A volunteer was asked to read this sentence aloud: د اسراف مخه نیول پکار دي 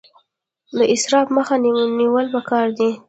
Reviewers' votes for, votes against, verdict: 0, 2, rejected